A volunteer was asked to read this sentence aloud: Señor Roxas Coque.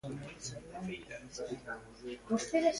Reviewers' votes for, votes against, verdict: 0, 2, rejected